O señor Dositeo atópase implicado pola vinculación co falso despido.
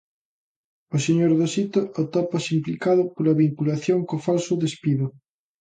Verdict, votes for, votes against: rejected, 0, 2